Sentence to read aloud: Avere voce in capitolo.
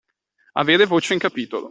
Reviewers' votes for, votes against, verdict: 2, 0, accepted